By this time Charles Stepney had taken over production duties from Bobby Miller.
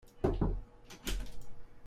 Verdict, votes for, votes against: rejected, 0, 2